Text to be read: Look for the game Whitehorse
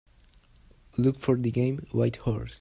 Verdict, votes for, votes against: accepted, 2, 0